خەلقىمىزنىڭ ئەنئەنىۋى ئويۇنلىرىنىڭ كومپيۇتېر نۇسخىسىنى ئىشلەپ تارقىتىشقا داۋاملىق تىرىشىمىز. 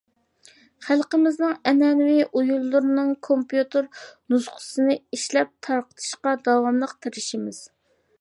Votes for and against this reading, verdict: 2, 0, accepted